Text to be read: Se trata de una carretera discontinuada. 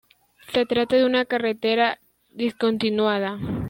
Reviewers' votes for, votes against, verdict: 2, 0, accepted